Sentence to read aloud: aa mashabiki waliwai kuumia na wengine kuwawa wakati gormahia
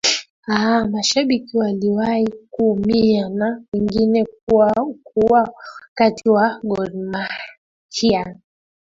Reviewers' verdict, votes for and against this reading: rejected, 0, 2